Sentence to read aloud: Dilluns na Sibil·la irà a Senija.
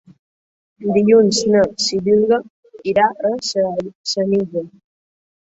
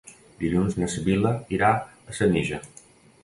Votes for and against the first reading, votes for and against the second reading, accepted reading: 1, 2, 2, 0, second